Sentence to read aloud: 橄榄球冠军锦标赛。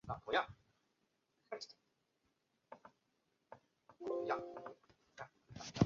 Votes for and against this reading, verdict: 2, 5, rejected